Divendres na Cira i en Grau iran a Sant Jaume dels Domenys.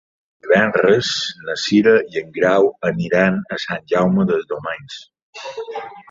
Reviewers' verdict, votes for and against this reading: rejected, 1, 3